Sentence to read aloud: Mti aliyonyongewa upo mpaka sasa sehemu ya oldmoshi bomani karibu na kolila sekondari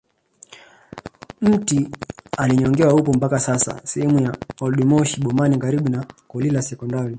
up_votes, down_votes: 0, 2